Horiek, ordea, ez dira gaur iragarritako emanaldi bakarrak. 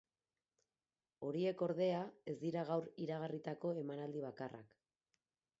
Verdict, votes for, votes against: accepted, 4, 2